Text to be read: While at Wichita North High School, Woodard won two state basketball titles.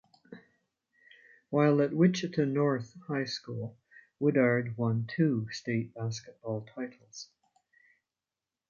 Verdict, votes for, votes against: accepted, 2, 1